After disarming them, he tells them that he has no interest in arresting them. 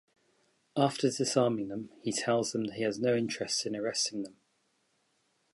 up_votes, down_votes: 2, 0